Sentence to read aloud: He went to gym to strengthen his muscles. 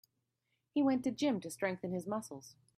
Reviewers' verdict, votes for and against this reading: accepted, 2, 0